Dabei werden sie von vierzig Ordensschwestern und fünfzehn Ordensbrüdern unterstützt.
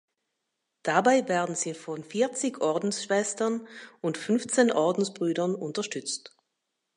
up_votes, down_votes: 2, 1